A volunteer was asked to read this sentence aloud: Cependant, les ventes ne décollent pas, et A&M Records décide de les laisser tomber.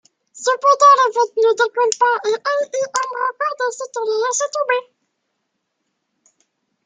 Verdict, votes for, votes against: rejected, 1, 2